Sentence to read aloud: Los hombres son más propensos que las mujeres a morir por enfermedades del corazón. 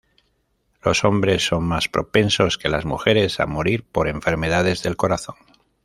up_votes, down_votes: 2, 0